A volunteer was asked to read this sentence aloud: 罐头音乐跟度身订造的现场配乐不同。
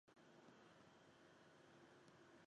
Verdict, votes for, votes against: rejected, 0, 2